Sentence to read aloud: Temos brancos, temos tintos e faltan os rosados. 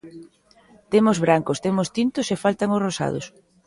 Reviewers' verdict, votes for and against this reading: accepted, 2, 0